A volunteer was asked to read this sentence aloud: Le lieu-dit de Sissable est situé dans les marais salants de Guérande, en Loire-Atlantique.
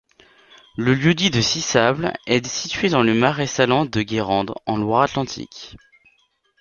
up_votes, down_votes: 1, 2